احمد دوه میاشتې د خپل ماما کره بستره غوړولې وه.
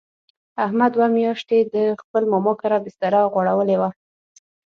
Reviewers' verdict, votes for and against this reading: accepted, 6, 0